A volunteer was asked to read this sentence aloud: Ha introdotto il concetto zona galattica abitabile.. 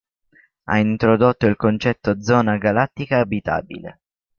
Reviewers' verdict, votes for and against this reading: rejected, 1, 2